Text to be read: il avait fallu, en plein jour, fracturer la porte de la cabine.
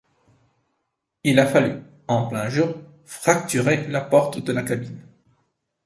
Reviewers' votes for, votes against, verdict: 1, 2, rejected